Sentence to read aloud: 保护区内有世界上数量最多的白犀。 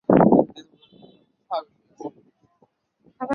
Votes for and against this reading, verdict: 4, 5, rejected